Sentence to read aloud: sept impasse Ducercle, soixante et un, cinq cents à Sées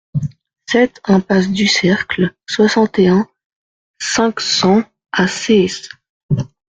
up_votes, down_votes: 1, 2